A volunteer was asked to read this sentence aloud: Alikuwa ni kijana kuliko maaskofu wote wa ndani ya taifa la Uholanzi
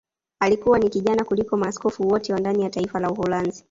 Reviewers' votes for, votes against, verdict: 1, 2, rejected